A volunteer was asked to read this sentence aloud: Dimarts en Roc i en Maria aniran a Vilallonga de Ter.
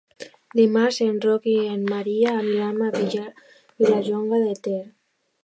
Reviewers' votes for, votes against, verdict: 0, 2, rejected